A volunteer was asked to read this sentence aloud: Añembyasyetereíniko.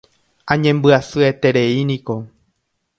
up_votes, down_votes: 2, 0